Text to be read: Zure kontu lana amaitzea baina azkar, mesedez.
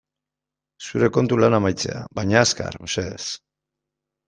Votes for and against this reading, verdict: 2, 0, accepted